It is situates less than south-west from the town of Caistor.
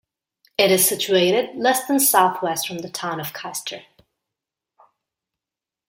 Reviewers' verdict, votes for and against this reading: rejected, 1, 2